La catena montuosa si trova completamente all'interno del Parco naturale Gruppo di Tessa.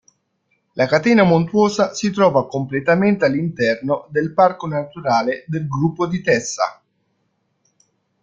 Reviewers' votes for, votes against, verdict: 2, 1, accepted